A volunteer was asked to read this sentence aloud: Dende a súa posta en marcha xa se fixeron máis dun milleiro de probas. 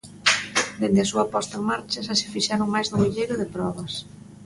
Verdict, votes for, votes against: accepted, 2, 0